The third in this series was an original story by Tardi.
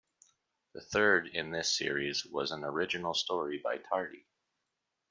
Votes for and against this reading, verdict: 2, 0, accepted